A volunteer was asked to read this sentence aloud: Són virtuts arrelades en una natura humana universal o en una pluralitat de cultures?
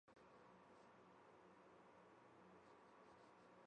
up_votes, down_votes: 1, 2